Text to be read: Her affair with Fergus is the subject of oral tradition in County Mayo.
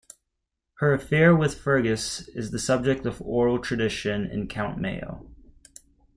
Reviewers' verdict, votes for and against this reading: rejected, 1, 2